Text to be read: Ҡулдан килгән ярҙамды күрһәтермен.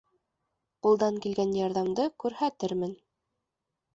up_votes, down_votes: 2, 0